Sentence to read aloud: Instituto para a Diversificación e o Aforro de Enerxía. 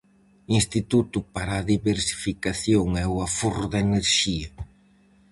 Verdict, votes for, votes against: rejected, 2, 2